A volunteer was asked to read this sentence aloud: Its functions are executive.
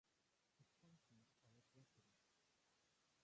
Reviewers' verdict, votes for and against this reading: rejected, 0, 2